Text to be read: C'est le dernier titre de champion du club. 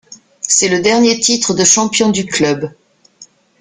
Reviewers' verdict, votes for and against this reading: accepted, 2, 0